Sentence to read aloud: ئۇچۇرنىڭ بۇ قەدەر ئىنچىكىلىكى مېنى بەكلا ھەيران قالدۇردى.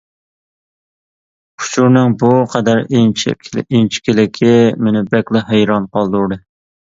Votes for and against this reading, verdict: 1, 2, rejected